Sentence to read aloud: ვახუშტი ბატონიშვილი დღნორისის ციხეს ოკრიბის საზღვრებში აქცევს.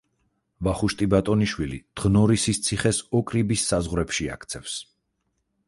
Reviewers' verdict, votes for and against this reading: accepted, 4, 0